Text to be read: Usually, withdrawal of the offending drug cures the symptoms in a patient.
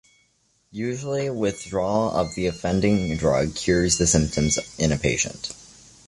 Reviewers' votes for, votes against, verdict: 2, 0, accepted